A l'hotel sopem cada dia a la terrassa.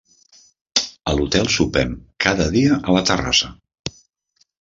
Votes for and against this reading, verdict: 3, 0, accepted